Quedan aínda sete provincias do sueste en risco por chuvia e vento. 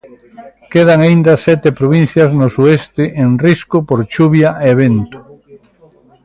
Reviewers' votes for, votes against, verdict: 0, 3, rejected